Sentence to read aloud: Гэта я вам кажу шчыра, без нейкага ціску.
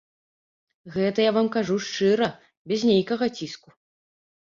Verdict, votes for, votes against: rejected, 0, 2